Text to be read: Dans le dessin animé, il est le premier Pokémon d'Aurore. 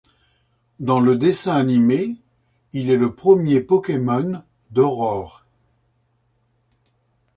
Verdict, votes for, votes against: accepted, 2, 0